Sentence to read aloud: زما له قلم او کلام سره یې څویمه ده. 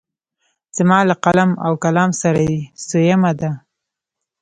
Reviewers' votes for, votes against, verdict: 0, 2, rejected